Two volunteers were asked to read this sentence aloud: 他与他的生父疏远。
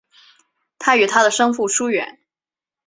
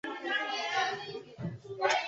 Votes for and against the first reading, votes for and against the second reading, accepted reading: 3, 0, 0, 3, first